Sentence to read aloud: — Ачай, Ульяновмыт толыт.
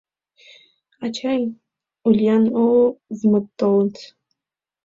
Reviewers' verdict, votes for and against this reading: rejected, 0, 2